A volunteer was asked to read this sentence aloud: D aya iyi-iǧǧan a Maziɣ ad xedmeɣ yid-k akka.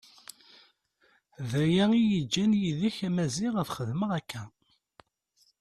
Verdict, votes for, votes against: accepted, 2, 0